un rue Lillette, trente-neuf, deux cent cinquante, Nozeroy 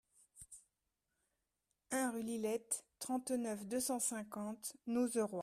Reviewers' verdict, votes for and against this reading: accepted, 2, 1